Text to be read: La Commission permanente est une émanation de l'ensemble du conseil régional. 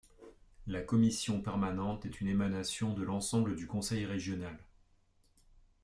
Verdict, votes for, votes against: rejected, 1, 2